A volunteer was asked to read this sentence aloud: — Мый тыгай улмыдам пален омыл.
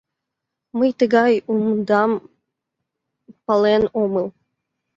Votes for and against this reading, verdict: 2, 4, rejected